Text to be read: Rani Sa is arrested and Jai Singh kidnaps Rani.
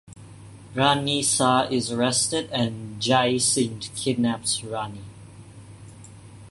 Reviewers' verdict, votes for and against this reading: accepted, 2, 0